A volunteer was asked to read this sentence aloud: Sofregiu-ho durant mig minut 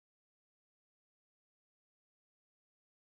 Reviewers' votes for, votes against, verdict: 0, 2, rejected